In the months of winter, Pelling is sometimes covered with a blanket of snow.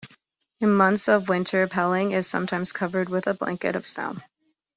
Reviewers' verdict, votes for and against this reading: rejected, 0, 2